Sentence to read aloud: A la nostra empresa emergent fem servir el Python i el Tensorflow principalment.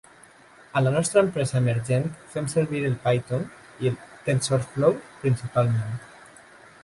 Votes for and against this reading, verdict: 2, 0, accepted